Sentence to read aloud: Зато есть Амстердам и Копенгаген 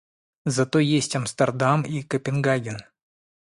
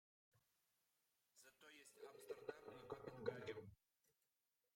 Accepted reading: first